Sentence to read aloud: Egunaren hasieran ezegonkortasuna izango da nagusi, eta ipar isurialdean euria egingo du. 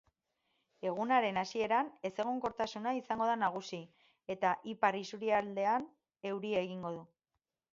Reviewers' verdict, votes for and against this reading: accepted, 4, 2